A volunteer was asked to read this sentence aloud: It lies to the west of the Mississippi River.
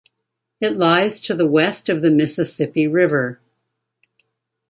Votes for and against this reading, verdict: 2, 0, accepted